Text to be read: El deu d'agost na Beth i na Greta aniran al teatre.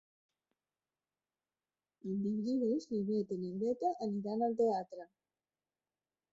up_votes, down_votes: 0, 2